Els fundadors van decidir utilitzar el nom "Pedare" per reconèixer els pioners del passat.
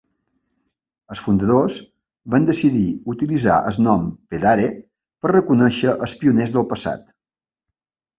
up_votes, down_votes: 3, 1